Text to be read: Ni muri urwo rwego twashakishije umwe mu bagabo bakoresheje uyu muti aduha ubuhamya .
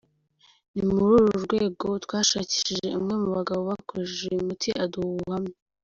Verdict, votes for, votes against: accepted, 2, 0